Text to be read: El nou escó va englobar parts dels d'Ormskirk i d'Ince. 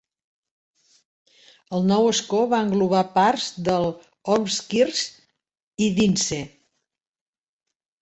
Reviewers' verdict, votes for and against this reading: accepted, 3, 1